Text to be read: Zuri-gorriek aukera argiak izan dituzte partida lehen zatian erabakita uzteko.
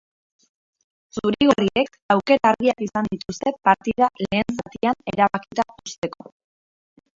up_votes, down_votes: 0, 3